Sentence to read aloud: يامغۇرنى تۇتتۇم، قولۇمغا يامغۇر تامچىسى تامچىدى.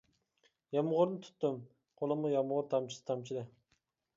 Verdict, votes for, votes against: accepted, 2, 0